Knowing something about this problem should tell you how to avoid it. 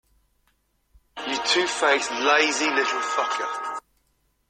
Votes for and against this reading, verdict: 0, 2, rejected